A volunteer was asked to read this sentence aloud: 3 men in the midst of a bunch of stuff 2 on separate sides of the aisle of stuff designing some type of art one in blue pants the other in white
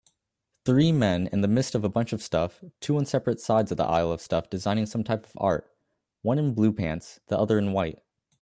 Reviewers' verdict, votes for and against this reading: rejected, 0, 2